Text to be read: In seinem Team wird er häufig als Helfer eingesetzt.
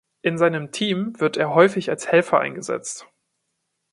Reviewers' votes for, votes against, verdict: 2, 0, accepted